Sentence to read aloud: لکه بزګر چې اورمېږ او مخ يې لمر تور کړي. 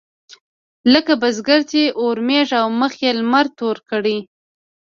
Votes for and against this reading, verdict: 1, 2, rejected